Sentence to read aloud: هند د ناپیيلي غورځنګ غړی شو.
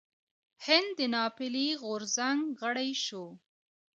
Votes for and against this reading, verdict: 1, 2, rejected